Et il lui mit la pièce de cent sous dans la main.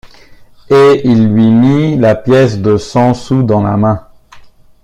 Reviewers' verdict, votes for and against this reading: accepted, 2, 0